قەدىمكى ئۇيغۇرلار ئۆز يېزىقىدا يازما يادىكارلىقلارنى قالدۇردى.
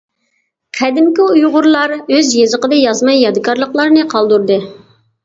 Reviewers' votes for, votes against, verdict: 2, 0, accepted